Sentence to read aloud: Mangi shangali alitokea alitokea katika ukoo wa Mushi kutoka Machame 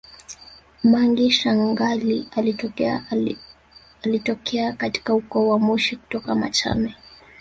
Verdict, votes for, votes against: rejected, 0, 2